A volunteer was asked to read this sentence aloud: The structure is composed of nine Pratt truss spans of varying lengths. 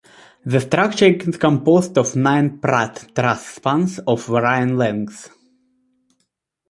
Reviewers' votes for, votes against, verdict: 1, 2, rejected